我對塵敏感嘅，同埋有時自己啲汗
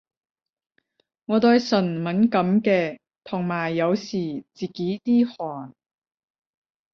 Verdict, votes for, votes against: rejected, 0, 10